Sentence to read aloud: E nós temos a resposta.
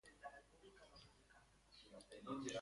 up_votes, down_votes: 0, 3